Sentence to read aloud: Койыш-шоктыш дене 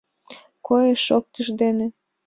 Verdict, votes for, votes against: accepted, 2, 0